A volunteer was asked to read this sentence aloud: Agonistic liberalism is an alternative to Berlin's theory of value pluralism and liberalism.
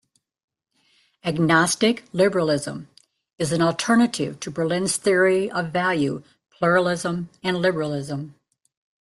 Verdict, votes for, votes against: rejected, 2, 3